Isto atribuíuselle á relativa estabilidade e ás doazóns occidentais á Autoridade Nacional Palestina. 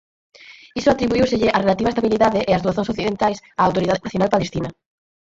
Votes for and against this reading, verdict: 0, 6, rejected